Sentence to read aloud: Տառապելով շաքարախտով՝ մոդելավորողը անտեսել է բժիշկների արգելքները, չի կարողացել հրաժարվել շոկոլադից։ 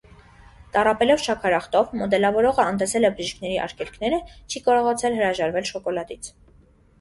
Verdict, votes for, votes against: accepted, 2, 0